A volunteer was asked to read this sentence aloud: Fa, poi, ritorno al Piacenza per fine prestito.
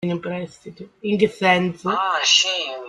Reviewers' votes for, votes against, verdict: 0, 2, rejected